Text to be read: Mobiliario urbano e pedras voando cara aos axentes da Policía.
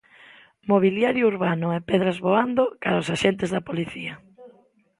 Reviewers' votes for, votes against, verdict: 2, 0, accepted